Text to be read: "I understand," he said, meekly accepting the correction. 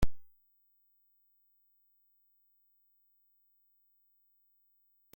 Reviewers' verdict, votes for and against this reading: rejected, 0, 2